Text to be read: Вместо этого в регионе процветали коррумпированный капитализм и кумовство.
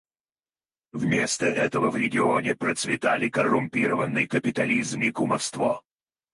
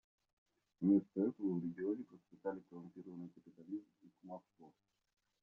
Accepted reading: first